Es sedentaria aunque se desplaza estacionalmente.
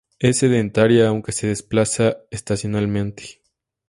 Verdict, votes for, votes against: accepted, 2, 0